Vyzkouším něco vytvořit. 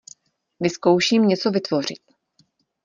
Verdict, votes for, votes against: accepted, 2, 0